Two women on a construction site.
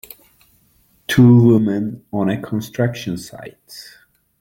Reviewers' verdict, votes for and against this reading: accepted, 2, 0